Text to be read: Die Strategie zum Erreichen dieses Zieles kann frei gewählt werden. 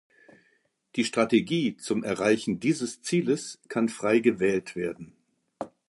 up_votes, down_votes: 2, 0